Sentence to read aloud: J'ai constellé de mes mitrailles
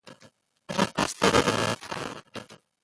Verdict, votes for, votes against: rejected, 0, 2